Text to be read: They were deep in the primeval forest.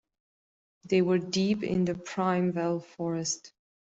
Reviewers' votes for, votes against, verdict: 0, 2, rejected